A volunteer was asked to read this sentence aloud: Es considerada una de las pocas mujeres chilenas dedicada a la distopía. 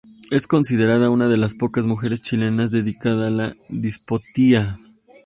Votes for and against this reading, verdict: 0, 2, rejected